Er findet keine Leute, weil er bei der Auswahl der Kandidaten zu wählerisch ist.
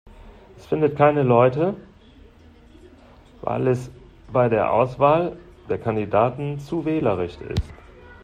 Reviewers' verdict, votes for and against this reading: rejected, 0, 2